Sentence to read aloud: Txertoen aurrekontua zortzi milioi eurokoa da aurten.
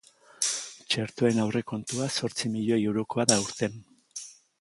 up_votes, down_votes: 2, 0